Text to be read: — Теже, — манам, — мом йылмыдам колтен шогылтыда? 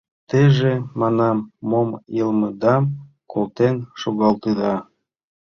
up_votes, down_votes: 1, 2